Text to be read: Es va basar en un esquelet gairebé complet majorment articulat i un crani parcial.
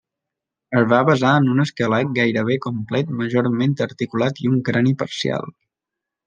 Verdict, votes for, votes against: accepted, 2, 0